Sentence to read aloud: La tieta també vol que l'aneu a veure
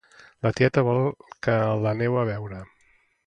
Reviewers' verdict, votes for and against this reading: rejected, 0, 2